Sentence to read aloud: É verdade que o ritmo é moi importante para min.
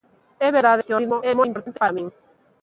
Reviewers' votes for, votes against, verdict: 0, 3, rejected